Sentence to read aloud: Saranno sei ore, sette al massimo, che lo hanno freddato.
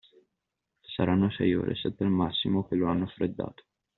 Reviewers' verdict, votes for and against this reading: accepted, 2, 0